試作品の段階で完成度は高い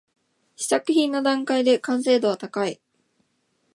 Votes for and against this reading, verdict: 2, 1, accepted